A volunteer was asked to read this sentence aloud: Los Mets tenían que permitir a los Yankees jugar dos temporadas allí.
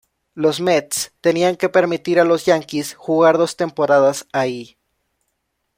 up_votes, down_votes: 1, 2